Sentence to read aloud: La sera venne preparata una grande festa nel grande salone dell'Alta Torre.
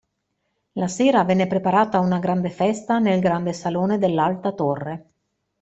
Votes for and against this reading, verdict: 2, 0, accepted